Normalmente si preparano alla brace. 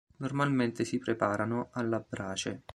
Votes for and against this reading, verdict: 2, 0, accepted